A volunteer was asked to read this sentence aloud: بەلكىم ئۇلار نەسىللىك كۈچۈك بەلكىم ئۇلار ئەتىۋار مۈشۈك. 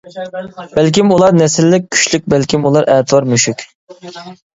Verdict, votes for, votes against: rejected, 0, 2